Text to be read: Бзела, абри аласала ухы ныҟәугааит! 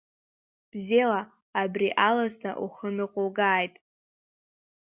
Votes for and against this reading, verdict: 0, 2, rejected